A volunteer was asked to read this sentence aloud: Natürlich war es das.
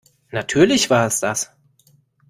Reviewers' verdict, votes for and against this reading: accepted, 2, 0